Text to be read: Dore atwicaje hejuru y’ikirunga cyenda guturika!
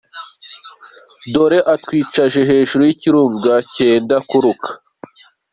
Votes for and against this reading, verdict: 0, 2, rejected